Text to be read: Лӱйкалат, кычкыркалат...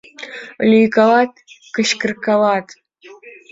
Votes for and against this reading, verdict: 2, 1, accepted